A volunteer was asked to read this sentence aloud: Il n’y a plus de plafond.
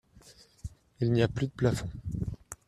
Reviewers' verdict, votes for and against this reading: accepted, 2, 0